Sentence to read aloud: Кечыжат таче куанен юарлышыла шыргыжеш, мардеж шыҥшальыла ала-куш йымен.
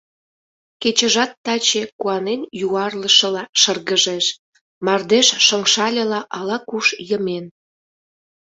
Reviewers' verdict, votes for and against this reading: accepted, 2, 0